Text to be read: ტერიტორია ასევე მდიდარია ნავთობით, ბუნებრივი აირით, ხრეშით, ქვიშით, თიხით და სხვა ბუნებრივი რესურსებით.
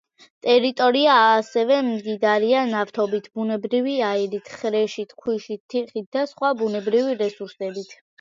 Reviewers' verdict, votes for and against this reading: rejected, 1, 2